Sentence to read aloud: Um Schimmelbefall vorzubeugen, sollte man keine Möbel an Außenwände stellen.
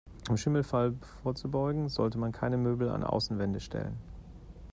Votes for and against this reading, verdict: 1, 2, rejected